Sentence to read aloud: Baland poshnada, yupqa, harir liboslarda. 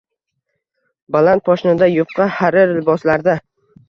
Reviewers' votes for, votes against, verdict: 2, 0, accepted